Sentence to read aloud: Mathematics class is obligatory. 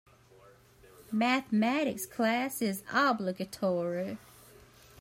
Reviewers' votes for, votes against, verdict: 3, 0, accepted